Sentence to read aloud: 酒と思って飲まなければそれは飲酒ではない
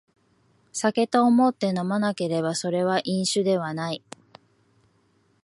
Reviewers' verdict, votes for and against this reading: accepted, 2, 0